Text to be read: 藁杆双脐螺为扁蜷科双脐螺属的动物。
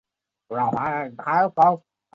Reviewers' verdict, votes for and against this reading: rejected, 0, 2